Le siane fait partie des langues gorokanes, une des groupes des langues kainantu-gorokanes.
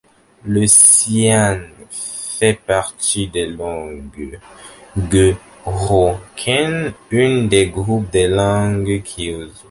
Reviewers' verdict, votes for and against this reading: rejected, 0, 2